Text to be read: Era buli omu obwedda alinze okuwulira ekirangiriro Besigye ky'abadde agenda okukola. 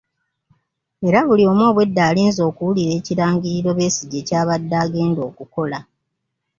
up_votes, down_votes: 3, 0